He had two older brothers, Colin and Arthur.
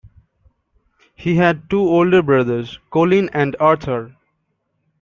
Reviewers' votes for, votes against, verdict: 2, 0, accepted